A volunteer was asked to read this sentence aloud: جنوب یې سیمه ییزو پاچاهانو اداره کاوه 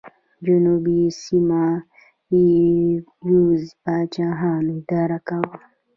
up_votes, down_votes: 1, 2